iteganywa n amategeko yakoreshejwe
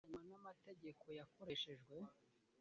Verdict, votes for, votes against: rejected, 1, 2